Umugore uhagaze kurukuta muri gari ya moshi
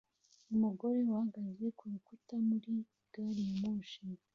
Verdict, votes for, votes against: accepted, 3, 2